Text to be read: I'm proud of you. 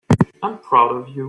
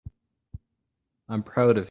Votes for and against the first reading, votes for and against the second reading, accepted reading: 2, 0, 0, 2, first